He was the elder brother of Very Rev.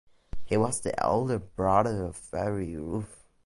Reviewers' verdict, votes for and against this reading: rejected, 0, 2